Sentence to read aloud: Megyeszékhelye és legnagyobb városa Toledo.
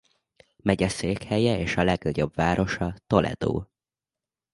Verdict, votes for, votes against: rejected, 0, 2